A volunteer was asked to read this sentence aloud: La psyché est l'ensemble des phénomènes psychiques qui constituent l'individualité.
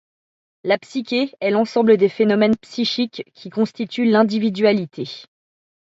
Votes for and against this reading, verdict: 2, 0, accepted